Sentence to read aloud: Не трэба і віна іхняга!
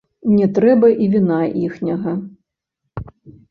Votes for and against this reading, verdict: 0, 2, rejected